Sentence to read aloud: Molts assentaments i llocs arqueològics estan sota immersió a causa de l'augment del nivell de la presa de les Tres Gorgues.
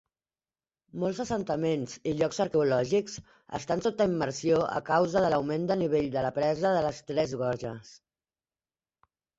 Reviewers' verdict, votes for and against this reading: rejected, 0, 2